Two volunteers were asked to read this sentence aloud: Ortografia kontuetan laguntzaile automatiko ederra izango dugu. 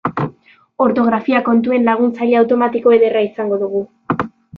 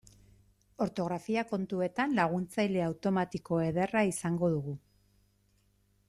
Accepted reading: second